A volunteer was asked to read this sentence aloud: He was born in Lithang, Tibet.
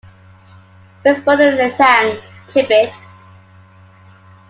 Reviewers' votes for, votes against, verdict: 1, 2, rejected